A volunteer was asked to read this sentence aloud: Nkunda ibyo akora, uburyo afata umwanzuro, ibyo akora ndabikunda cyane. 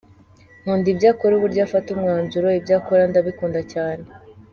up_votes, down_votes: 2, 1